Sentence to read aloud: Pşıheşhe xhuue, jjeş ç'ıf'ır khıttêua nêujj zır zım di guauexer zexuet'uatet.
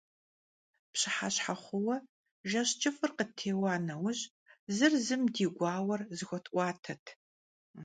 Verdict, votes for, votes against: rejected, 1, 2